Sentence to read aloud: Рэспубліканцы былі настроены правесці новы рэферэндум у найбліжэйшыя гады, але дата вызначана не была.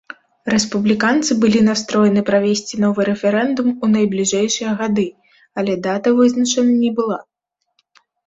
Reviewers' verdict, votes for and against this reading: accepted, 2, 0